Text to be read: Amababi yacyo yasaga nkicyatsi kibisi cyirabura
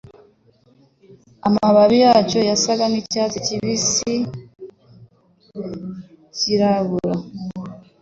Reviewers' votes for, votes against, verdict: 2, 0, accepted